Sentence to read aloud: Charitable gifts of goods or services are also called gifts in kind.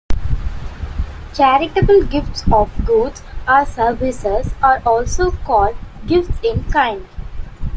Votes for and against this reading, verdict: 2, 0, accepted